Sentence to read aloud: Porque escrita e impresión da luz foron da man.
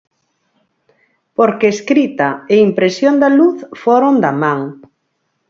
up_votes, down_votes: 4, 0